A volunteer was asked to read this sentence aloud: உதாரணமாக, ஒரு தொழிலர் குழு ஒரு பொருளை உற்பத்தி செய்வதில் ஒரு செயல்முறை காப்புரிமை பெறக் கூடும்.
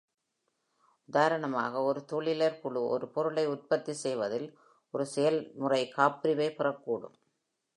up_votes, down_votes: 2, 0